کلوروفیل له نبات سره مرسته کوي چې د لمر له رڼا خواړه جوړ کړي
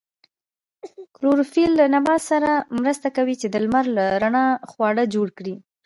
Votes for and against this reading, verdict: 1, 2, rejected